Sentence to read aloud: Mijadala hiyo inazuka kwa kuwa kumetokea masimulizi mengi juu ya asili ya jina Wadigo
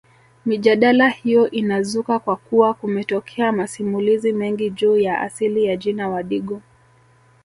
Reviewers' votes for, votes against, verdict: 2, 1, accepted